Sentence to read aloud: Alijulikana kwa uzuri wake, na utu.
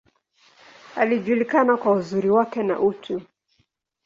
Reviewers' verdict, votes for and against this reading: accepted, 2, 0